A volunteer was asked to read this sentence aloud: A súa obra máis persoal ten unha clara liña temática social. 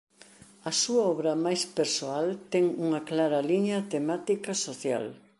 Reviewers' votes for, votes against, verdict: 2, 0, accepted